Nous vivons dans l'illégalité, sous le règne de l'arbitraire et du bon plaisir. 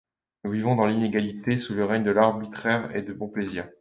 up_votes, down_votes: 1, 2